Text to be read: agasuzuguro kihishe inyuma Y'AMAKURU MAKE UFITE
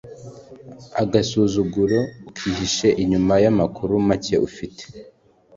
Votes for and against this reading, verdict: 2, 0, accepted